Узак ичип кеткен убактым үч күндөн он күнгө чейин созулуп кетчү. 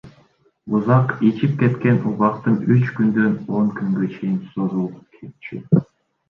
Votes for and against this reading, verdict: 2, 0, accepted